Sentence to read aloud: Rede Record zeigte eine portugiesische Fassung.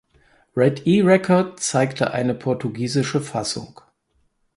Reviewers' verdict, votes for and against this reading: rejected, 0, 4